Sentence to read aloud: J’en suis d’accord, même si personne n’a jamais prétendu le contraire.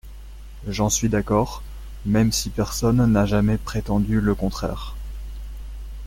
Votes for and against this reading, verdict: 2, 0, accepted